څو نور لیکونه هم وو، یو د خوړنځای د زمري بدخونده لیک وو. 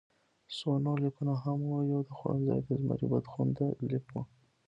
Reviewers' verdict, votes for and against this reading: rejected, 1, 2